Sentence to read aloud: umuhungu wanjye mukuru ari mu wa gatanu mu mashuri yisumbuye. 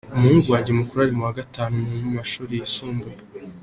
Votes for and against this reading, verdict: 2, 0, accepted